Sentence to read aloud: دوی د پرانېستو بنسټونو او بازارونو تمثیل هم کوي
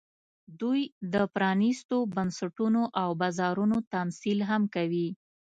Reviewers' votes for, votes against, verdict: 2, 0, accepted